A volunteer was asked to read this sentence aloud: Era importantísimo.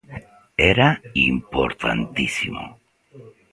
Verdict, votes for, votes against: rejected, 1, 2